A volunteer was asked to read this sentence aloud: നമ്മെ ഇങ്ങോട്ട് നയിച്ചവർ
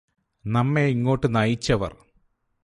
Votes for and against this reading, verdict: 2, 0, accepted